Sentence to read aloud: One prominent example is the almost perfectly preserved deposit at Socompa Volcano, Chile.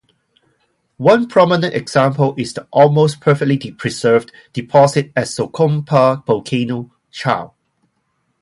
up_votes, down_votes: 0, 2